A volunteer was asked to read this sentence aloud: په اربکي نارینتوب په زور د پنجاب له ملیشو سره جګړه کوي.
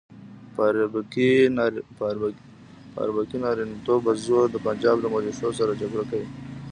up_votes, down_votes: 3, 0